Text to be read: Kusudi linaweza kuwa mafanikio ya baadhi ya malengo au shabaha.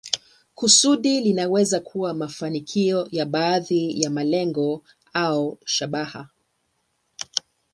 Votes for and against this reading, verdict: 7, 2, accepted